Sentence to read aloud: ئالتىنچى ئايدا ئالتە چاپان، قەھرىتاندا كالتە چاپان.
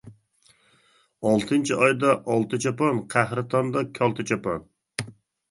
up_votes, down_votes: 2, 0